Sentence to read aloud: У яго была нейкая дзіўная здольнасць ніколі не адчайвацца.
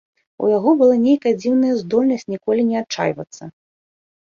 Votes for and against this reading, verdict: 2, 0, accepted